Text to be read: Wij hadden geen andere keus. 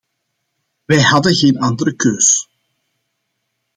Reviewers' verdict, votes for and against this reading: accepted, 2, 0